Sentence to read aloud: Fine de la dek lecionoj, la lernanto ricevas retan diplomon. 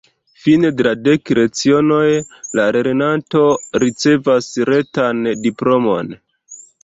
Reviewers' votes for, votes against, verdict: 1, 2, rejected